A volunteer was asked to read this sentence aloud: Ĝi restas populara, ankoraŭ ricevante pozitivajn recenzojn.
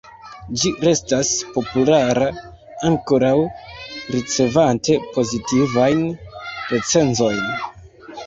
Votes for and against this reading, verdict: 0, 2, rejected